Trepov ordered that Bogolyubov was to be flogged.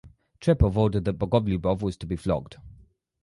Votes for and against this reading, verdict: 2, 2, rejected